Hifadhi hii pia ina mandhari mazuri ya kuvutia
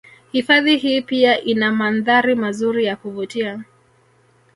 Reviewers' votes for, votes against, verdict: 2, 1, accepted